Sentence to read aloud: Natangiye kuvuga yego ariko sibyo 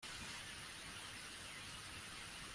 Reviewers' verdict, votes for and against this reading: rejected, 1, 2